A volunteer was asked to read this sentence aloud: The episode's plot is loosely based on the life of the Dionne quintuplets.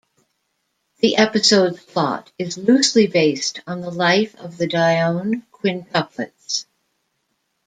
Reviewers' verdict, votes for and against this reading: accepted, 2, 0